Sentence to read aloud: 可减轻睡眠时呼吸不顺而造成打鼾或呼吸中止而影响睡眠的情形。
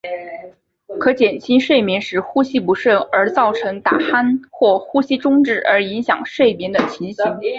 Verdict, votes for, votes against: accepted, 2, 0